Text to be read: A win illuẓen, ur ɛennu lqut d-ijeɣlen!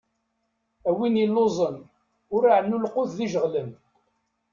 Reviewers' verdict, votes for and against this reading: accepted, 2, 1